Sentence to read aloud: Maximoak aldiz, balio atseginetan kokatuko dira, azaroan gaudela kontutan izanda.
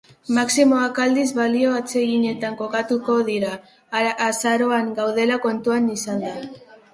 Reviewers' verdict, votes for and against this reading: rejected, 0, 2